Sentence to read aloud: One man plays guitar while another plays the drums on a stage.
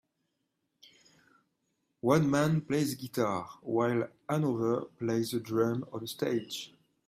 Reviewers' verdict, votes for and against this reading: accepted, 2, 1